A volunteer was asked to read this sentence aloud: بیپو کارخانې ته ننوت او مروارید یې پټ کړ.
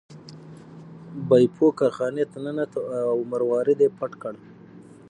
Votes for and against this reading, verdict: 6, 0, accepted